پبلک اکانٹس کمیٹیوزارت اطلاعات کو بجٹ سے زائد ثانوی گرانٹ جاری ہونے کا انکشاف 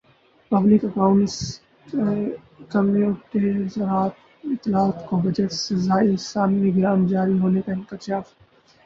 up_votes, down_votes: 0, 2